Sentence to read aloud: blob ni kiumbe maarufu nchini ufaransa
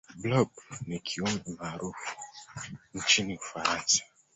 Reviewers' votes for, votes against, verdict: 2, 1, accepted